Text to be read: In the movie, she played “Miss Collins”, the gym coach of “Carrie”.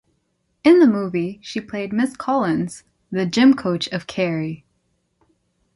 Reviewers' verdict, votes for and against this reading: accepted, 2, 0